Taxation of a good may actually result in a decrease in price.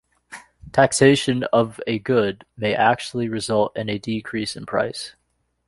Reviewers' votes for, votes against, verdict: 2, 0, accepted